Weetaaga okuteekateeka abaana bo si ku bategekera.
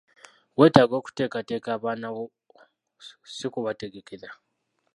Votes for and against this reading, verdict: 1, 2, rejected